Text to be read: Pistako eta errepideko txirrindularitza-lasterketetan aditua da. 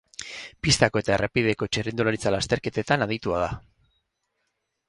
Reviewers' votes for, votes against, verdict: 4, 0, accepted